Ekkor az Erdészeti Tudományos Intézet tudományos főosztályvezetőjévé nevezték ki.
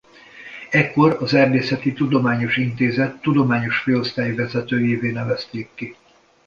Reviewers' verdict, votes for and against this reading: accepted, 2, 0